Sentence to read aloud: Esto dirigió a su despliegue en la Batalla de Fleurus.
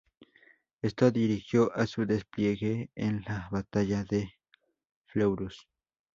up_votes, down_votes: 0, 2